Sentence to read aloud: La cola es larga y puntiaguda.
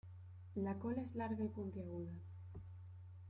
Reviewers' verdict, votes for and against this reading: rejected, 0, 2